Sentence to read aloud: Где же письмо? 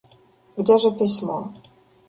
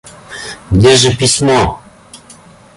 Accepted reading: first